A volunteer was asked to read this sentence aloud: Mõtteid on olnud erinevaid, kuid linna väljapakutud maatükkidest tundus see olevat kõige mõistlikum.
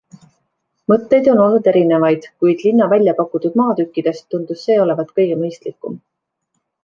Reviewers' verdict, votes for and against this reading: accepted, 2, 0